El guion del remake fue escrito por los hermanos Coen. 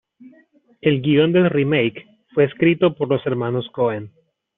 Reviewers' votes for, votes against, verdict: 2, 0, accepted